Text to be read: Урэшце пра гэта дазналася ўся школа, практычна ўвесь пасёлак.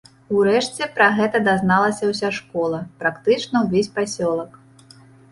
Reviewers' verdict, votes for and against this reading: accepted, 2, 1